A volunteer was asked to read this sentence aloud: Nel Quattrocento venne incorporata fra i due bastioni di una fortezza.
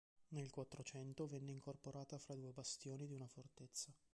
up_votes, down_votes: 0, 2